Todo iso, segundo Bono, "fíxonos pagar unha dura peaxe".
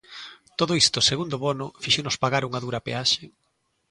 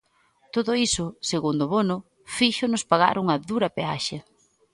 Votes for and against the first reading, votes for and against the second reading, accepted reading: 0, 2, 2, 0, second